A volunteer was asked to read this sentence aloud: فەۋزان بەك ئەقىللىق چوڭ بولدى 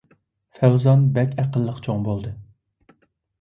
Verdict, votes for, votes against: accepted, 2, 0